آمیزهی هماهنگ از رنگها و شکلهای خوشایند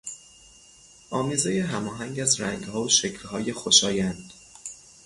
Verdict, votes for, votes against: rejected, 0, 3